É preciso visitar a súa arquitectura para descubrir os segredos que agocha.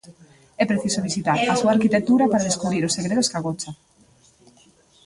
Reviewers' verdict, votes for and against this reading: rejected, 1, 2